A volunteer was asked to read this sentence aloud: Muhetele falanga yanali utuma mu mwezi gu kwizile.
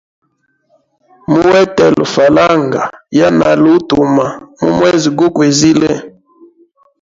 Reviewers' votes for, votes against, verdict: 1, 2, rejected